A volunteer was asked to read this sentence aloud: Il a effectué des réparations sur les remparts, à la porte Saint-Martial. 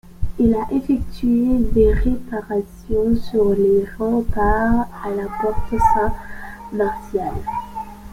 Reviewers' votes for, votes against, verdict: 2, 0, accepted